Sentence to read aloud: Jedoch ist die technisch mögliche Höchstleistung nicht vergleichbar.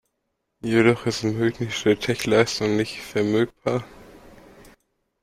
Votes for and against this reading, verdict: 0, 2, rejected